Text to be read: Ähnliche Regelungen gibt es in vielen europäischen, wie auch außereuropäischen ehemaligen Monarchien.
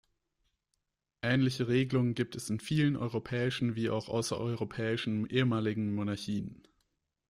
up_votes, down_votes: 1, 2